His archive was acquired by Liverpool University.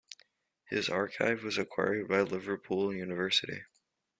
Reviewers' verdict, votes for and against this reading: rejected, 0, 2